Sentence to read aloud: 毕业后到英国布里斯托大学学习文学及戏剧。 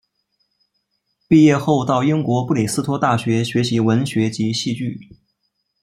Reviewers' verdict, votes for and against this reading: accepted, 2, 0